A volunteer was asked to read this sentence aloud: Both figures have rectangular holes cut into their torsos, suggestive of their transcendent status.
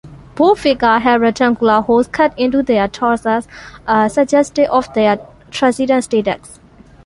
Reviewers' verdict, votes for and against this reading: rejected, 0, 2